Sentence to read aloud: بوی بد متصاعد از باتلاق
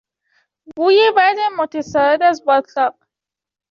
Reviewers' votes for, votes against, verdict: 2, 0, accepted